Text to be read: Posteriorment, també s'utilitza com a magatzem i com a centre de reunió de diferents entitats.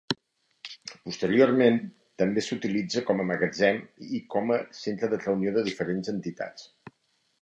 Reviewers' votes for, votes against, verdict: 3, 0, accepted